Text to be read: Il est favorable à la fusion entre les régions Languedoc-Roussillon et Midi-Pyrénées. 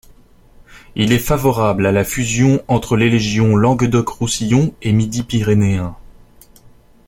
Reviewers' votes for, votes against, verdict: 0, 2, rejected